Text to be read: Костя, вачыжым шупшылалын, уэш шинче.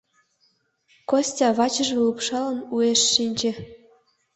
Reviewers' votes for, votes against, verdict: 0, 2, rejected